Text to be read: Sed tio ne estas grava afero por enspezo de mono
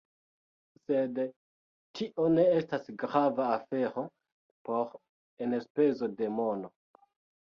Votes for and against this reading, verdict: 0, 2, rejected